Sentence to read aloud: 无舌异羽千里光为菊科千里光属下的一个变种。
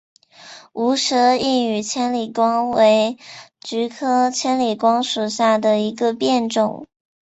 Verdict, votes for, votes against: accepted, 3, 0